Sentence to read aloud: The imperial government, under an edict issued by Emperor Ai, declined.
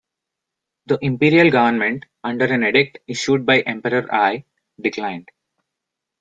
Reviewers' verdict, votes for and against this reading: rejected, 0, 2